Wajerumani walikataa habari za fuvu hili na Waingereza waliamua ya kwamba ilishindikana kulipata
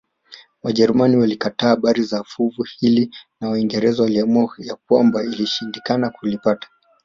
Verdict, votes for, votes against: accepted, 2, 0